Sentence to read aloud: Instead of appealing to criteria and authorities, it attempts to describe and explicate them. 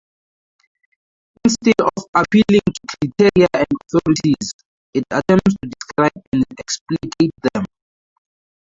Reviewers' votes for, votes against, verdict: 0, 6, rejected